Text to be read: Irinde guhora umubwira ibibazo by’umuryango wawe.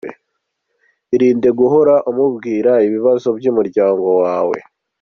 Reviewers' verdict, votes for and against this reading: accepted, 2, 0